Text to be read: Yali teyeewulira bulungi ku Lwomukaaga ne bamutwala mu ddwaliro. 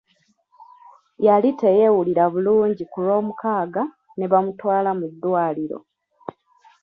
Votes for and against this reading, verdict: 2, 1, accepted